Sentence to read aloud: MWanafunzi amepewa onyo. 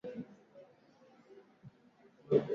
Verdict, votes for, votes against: rejected, 0, 2